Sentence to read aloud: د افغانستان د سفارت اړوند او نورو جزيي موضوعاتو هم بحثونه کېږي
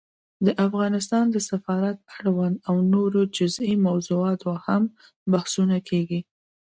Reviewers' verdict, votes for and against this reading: accepted, 2, 0